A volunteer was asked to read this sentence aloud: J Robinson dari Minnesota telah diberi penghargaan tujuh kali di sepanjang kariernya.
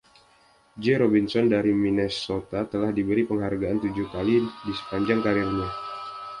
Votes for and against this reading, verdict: 2, 0, accepted